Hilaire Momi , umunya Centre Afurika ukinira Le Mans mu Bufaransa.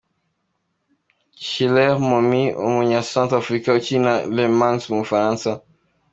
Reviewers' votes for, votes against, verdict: 2, 1, accepted